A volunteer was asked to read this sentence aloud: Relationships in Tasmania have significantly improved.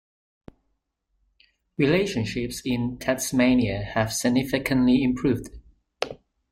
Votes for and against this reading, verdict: 3, 1, accepted